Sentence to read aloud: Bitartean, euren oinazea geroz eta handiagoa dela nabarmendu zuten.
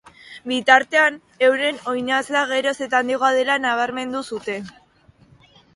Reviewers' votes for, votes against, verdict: 2, 1, accepted